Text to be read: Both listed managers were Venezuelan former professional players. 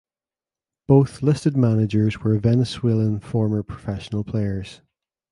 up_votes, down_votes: 2, 0